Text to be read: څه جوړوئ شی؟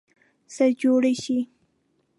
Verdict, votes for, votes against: rejected, 1, 2